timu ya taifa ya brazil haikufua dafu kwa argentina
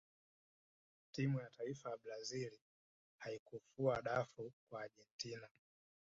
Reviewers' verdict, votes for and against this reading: rejected, 1, 2